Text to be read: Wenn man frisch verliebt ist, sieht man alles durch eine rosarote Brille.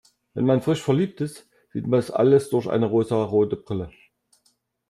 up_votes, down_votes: 0, 2